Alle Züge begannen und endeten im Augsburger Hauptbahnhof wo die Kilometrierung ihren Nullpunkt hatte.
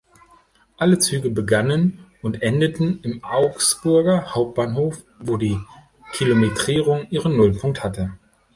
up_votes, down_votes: 1, 2